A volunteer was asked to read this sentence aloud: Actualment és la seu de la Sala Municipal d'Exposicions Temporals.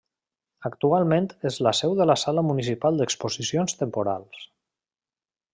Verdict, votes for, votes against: accepted, 3, 1